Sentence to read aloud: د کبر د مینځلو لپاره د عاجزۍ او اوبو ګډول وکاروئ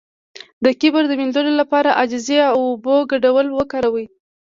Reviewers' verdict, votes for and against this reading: accepted, 2, 1